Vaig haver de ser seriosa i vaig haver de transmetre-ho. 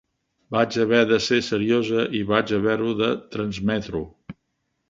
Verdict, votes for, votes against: rejected, 1, 2